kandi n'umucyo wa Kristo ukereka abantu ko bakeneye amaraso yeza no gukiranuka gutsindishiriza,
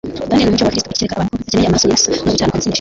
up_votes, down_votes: 1, 2